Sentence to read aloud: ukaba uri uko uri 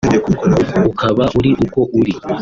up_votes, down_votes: 2, 0